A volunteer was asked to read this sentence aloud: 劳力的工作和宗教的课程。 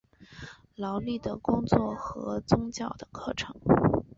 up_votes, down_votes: 3, 1